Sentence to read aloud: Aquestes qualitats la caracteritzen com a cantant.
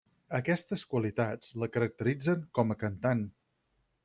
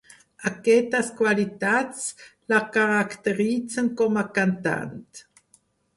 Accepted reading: first